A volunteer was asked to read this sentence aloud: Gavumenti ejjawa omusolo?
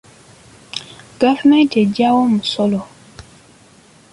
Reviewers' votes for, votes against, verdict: 3, 0, accepted